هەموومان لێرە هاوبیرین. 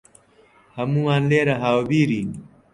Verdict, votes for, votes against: accepted, 3, 0